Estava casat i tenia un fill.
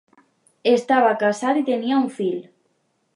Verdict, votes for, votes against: accepted, 3, 0